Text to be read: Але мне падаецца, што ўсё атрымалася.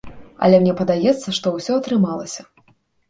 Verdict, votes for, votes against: accepted, 2, 0